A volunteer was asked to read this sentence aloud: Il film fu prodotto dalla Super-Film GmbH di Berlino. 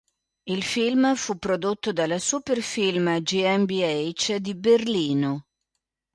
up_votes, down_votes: 2, 0